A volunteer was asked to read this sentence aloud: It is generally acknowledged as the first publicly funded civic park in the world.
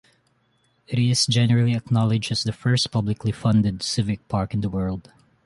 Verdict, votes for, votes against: accepted, 2, 1